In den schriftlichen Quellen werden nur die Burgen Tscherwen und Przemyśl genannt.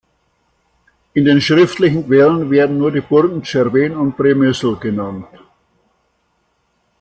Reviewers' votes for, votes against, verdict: 2, 0, accepted